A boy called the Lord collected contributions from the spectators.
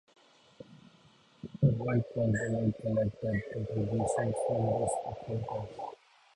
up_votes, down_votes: 0, 2